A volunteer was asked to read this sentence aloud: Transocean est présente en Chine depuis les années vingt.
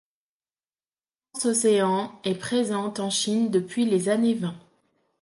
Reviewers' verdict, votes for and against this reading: rejected, 0, 2